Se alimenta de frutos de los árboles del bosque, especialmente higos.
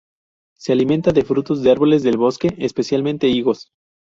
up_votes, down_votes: 0, 2